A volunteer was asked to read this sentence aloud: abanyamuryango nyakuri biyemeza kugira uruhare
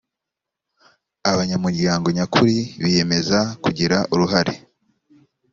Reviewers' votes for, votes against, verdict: 2, 0, accepted